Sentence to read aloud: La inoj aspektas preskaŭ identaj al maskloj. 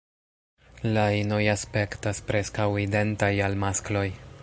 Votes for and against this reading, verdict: 1, 2, rejected